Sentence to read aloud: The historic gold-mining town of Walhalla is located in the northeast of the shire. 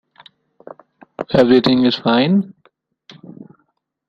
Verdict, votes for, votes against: rejected, 0, 2